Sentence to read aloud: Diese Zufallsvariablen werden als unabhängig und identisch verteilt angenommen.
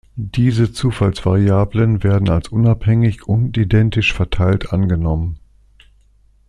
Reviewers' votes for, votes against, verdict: 2, 0, accepted